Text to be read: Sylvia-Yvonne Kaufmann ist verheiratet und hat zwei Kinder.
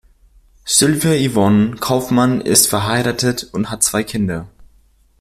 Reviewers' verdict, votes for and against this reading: accepted, 2, 0